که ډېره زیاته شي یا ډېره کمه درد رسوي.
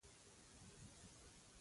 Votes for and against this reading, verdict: 0, 2, rejected